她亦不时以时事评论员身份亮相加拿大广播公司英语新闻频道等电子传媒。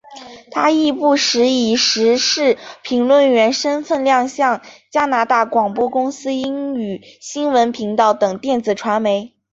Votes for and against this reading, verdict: 2, 0, accepted